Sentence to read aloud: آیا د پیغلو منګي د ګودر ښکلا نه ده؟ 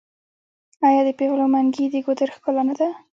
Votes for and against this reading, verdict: 2, 0, accepted